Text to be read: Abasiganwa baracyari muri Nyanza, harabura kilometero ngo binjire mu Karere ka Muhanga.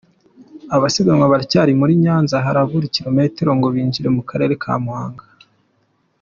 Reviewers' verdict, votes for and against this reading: accepted, 2, 0